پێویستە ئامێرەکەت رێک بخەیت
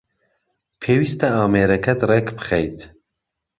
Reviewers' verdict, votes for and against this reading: accepted, 2, 0